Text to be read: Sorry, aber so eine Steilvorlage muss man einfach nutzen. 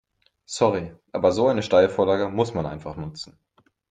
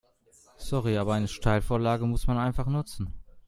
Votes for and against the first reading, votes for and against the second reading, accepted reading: 2, 0, 0, 2, first